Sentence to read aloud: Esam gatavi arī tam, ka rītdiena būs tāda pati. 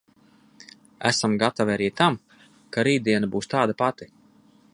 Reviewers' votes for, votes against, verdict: 2, 0, accepted